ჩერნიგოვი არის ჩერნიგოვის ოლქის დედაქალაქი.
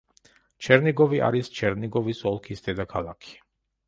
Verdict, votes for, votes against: accepted, 2, 0